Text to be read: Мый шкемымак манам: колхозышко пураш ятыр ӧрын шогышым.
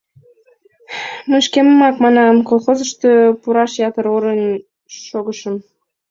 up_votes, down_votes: 0, 2